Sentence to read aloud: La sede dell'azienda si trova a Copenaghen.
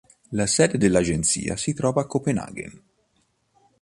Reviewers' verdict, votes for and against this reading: rejected, 1, 2